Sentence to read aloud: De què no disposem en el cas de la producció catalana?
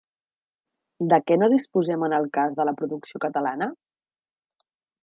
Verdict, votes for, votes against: accepted, 3, 0